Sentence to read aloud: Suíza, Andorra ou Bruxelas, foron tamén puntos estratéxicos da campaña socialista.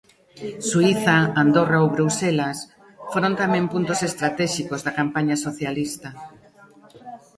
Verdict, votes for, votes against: rejected, 0, 2